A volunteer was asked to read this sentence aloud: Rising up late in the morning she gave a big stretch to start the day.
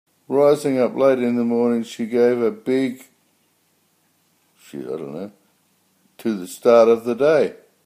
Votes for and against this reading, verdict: 0, 2, rejected